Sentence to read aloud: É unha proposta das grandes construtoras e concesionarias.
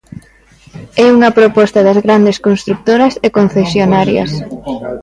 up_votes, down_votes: 1, 2